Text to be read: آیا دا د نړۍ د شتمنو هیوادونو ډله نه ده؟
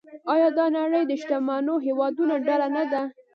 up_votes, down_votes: 1, 2